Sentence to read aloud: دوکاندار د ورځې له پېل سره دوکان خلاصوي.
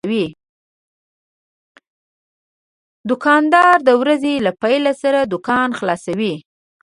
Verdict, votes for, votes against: rejected, 1, 2